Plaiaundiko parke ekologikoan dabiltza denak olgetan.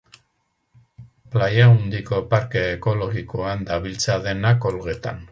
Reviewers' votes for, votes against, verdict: 2, 0, accepted